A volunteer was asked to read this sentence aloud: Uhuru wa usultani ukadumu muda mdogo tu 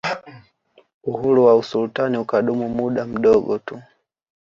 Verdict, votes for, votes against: rejected, 0, 2